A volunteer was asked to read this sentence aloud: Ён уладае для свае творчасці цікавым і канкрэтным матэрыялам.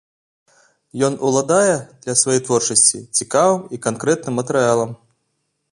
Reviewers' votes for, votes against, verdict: 2, 0, accepted